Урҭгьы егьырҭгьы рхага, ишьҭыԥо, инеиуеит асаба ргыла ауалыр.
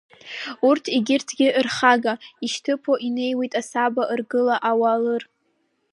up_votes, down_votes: 3, 2